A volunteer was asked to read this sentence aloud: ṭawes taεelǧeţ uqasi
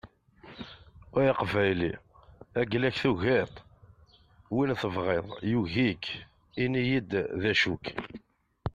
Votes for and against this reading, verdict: 0, 2, rejected